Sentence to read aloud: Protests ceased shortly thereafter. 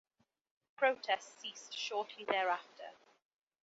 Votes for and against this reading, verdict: 3, 1, accepted